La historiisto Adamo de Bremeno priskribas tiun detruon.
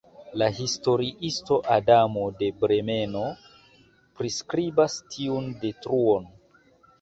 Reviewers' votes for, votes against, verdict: 2, 0, accepted